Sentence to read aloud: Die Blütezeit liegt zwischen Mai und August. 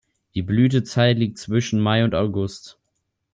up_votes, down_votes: 2, 0